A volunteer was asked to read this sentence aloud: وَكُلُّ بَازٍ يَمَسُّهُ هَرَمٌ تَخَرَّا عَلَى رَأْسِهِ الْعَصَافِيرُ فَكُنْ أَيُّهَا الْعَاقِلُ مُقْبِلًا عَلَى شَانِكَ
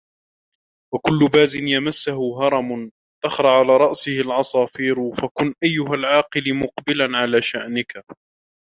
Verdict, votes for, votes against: rejected, 1, 2